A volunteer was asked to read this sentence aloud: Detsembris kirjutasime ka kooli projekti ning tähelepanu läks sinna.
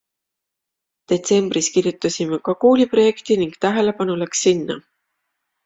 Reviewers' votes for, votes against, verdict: 2, 0, accepted